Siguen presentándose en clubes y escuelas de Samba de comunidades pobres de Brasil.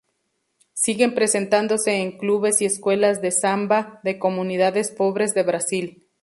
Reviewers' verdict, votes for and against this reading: accepted, 2, 0